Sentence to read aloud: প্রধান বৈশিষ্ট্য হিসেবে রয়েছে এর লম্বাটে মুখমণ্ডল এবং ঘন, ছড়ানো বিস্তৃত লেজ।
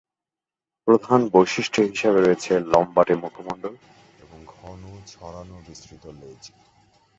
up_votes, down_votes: 0, 3